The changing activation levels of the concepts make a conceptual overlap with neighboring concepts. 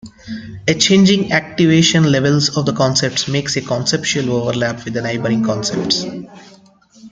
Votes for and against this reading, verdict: 1, 2, rejected